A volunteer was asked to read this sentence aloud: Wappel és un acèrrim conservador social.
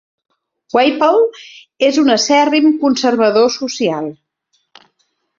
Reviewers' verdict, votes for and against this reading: accepted, 2, 0